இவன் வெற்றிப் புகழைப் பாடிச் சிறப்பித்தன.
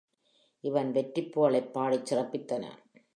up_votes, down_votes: 1, 2